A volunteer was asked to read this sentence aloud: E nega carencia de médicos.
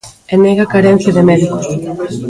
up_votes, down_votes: 0, 2